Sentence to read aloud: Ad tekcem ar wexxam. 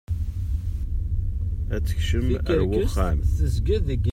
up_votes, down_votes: 0, 2